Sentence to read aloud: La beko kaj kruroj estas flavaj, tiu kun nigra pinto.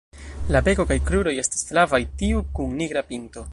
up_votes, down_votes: 0, 2